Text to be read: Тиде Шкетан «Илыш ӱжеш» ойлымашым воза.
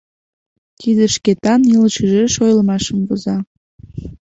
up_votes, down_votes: 2, 0